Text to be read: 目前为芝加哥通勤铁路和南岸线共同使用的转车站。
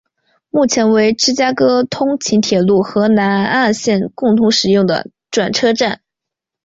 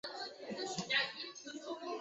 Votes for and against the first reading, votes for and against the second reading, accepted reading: 2, 0, 0, 2, first